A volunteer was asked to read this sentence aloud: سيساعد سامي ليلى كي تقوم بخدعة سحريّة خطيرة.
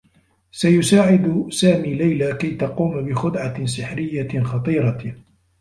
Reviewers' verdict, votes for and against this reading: accepted, 2, 1